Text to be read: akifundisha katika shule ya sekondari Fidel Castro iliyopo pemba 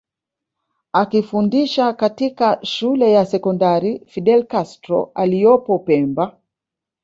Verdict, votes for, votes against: rejected, 1, 2